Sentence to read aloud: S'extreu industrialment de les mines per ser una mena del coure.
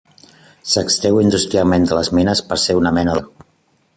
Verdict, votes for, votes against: rejected, 0, 2